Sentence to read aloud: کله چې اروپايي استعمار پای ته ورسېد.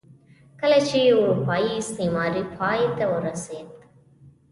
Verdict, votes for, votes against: rejected, 1, 2